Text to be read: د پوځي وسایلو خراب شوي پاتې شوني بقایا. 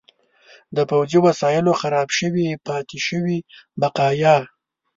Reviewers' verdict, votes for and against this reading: rejected, 0, 2